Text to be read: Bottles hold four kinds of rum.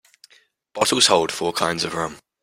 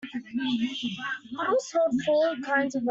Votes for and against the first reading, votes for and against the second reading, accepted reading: 2, 0, 0, 2, first